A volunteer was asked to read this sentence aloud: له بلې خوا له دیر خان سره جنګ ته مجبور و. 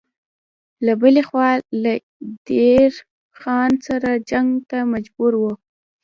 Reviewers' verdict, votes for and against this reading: rejected, 1, 2